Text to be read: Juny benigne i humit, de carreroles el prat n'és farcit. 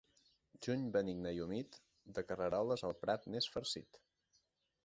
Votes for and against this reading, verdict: 2, 0, accepted